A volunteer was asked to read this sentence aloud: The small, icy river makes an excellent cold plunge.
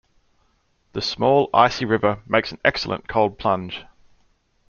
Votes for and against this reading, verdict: 2, 0, accepted